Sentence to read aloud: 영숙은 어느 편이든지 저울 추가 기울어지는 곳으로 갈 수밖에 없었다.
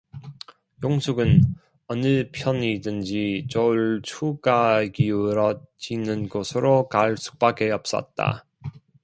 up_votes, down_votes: 1, 2